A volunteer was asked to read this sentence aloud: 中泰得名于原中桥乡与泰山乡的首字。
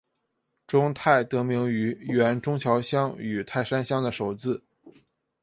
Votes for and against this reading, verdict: 8, 0, accepted